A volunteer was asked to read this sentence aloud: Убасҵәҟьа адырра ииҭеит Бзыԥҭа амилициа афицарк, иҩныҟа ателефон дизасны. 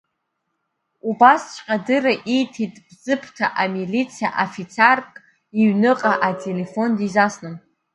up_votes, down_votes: 2, 0